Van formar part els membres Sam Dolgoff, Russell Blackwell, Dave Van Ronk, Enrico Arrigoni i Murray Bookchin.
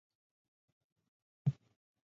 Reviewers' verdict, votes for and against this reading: rejected, 0, 2